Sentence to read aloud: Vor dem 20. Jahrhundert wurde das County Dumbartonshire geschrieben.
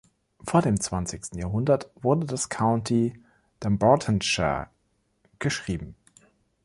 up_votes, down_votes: 0, 2